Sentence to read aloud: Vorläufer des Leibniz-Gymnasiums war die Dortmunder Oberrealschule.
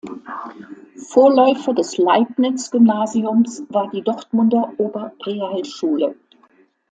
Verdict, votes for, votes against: accepted, 2, 0